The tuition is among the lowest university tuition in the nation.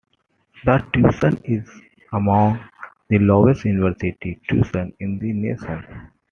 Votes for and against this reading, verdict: 2, 0, accepted